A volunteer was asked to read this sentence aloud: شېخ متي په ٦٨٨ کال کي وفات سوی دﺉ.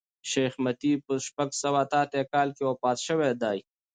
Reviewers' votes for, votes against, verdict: 0, 2, rejected